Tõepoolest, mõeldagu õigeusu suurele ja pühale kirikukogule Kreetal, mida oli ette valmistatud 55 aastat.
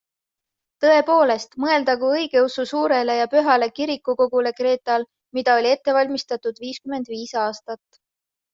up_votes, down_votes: 0, 2